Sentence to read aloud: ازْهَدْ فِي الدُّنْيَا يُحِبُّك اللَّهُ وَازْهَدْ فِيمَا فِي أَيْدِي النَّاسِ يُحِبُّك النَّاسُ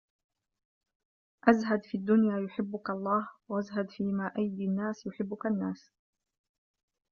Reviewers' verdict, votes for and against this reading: accepted, 2, 1